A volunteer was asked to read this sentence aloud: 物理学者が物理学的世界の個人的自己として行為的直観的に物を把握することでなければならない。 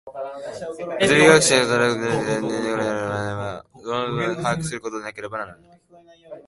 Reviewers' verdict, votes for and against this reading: rejected, 0, 2